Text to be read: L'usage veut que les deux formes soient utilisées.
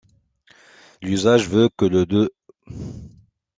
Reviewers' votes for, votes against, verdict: 0, 2, rejected